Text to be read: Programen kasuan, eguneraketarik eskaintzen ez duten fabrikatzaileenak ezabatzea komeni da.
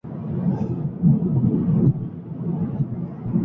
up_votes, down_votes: 0, 6